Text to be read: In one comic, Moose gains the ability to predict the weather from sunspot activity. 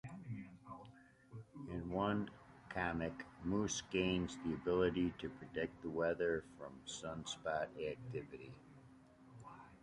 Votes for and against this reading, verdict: 2, 3, rejected